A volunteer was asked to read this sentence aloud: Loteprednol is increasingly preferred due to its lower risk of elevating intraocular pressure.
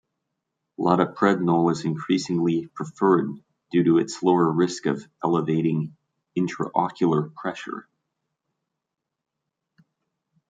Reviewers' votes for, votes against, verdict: 1, 2, rejected